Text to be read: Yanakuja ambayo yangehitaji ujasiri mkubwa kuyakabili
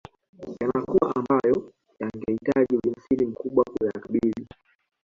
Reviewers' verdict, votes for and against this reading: rejected, 0, 2